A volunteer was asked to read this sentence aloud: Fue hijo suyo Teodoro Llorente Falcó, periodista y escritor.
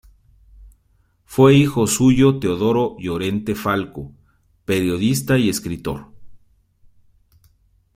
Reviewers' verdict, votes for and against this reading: rejected, 1, 2